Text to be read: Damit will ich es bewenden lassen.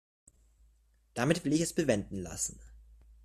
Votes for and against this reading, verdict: 2, 0, accepted